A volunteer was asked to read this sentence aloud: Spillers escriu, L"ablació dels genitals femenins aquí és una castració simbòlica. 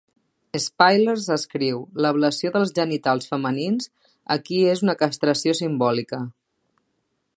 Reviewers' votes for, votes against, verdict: 2, 1, accepted